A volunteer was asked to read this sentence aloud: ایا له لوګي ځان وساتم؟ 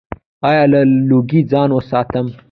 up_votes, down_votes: 2, 1